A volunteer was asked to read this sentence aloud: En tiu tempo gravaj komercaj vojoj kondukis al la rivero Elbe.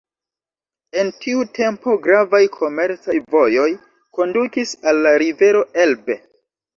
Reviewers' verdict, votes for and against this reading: accepted, 2, 1